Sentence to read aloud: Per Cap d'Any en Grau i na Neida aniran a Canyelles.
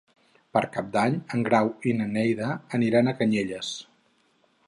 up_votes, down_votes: 2, 0